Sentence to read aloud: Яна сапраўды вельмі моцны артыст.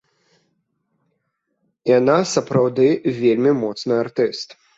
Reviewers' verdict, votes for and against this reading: accepted, 2, 0